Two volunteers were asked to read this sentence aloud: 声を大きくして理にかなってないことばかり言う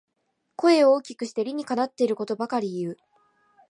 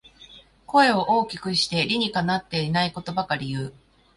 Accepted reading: second